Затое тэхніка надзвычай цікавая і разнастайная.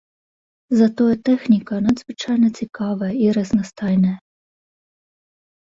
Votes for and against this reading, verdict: 0, 2, rejected